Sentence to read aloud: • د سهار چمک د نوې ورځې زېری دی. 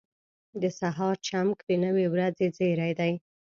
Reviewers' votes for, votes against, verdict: 1, 2, rejected